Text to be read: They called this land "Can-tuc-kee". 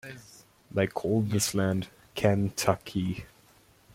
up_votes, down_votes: 2, 1